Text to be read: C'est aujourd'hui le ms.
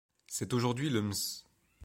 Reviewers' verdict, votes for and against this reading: rejected, 1, 2